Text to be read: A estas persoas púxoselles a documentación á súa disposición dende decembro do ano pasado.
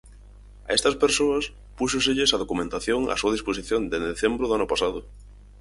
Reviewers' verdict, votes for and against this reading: accepted, 4, 0